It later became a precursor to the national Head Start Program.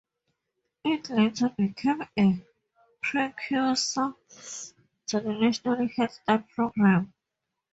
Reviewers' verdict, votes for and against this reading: rejected, 0, 2